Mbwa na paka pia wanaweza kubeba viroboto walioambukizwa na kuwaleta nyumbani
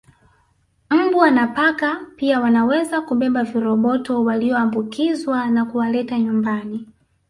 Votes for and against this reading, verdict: 6, 0, accepted